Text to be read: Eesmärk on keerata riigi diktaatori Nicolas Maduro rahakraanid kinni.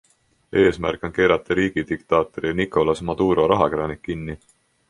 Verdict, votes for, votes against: accepted, 2, 0